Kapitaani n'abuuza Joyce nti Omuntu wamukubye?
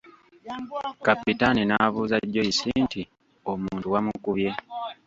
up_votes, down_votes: 1, 2